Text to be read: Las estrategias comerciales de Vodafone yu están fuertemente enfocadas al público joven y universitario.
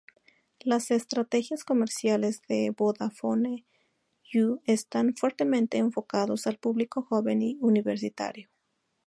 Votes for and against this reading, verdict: 2, 0, accepted